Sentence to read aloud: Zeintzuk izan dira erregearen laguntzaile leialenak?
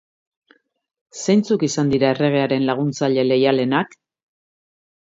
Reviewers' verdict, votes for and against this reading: accepted, 2, 0